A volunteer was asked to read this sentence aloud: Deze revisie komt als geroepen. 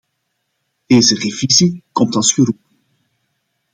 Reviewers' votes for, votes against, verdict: 1, 2, rejected